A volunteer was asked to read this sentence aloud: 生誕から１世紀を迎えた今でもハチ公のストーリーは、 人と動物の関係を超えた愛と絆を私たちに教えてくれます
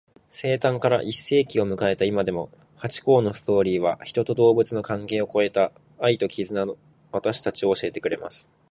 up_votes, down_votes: 0, 2